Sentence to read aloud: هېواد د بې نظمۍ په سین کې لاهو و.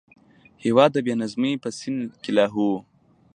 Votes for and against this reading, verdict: 2, 0, accepted